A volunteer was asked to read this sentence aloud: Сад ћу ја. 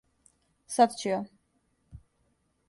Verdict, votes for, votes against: accepted, 2, 0